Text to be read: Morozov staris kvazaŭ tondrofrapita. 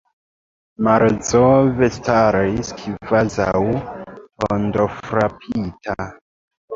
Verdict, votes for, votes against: rejected, 1, 2